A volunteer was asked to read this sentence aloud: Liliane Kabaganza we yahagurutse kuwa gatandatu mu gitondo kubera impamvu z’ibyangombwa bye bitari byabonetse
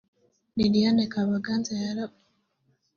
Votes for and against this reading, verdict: 0, 2, rejected